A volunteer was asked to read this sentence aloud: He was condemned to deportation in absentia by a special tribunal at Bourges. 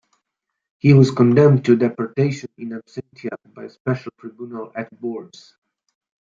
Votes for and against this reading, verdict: 2, 1, accepted